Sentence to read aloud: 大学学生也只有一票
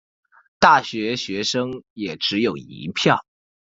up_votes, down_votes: 2, 0